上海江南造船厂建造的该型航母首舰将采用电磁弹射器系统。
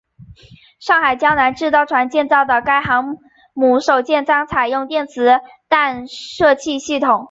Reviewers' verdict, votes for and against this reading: accepted, 3, 1